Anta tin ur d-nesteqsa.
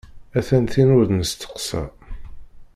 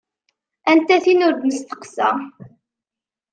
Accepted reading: second